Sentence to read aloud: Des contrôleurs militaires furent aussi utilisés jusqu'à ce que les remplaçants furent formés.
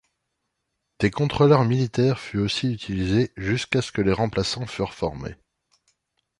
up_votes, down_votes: 1, 2